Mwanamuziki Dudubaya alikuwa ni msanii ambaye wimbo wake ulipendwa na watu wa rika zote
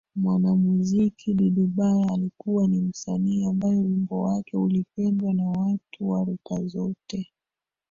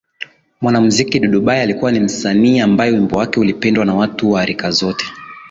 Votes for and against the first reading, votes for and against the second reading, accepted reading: 1, 2, 3, 0, second